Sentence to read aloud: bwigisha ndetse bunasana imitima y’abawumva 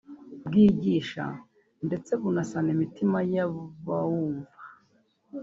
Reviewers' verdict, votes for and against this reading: rejected, 0, 2